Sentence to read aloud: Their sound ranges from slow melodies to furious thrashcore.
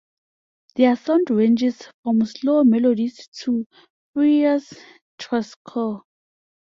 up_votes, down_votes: 1, 2